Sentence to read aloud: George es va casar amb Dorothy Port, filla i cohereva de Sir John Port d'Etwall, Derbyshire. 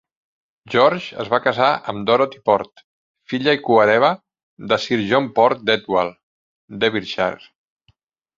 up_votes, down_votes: 2, 0